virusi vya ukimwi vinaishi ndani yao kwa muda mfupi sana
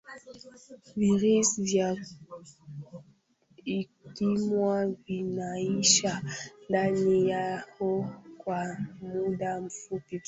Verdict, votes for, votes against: rejected, 0, 2